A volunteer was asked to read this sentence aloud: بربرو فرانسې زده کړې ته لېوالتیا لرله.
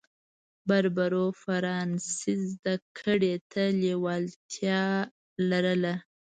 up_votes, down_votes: 0, 2